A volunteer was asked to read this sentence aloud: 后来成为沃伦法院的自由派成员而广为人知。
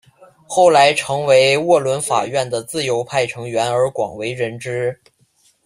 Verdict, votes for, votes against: accepted, 2, 0